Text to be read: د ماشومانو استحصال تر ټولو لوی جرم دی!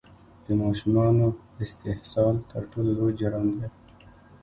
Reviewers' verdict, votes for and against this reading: rejected, 1, 2